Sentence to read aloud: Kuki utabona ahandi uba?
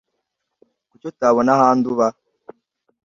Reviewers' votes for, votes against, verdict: 2, 0, accepted